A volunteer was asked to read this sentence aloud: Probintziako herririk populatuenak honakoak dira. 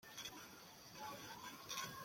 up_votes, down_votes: 0, 2